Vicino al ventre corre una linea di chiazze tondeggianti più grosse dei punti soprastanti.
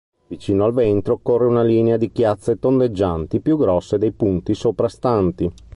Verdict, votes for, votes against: rejected, 1, 2